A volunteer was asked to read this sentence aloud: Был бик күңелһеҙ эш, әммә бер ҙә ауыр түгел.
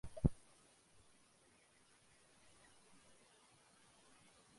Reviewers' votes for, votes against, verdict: 1, 2, rejected